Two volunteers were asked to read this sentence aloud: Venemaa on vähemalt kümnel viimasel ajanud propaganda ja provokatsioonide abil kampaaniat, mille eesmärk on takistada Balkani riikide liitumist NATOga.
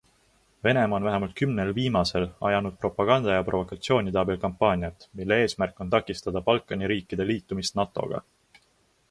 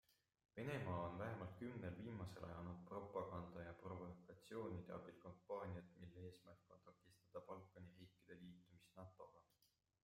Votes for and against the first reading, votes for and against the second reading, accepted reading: 2, 0, 1, 2, first